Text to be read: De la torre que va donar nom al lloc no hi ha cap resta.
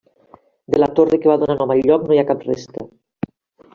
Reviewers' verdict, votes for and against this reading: accepted, 2, 1